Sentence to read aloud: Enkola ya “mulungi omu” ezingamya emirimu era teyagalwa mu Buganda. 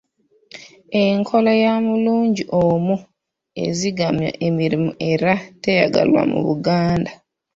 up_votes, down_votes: 1, 2